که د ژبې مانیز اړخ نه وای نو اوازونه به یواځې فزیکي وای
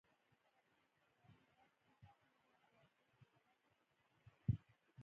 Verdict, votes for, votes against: rejected, 0, 2